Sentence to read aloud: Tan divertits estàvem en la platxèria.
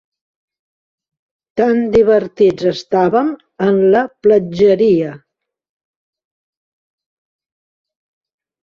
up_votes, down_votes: 1, 2